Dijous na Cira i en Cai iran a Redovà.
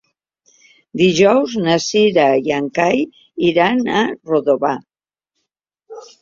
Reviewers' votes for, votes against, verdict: 1, 2, rejected